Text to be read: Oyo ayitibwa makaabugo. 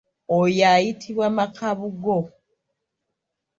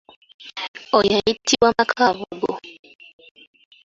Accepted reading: first